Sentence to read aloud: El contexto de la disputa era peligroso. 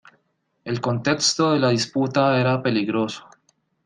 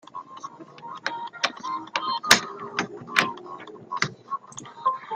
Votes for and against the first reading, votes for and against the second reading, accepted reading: 2, 0, 0, 2, first